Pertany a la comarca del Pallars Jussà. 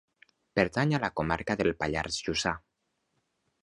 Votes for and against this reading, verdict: 2, 0, accepted